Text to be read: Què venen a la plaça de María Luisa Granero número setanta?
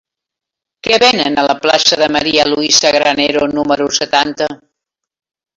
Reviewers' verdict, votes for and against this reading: accepted, 3, 1